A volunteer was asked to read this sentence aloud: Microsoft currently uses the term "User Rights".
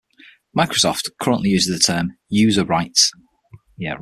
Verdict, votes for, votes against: accepted, 6, 3